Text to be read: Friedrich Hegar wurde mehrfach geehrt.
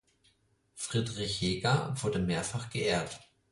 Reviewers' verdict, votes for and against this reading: accepted, 4, 0